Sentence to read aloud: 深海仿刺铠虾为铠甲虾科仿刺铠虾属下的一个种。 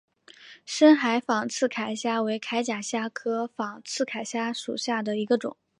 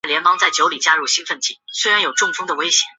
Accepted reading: first